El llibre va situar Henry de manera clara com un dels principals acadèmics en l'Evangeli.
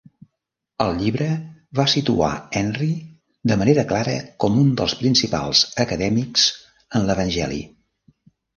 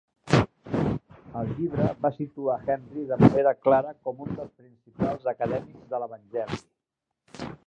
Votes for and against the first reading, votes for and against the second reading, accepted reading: 3, 0, 1, 2, first